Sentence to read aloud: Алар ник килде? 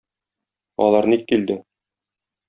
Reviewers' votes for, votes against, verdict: 2, 0, accepted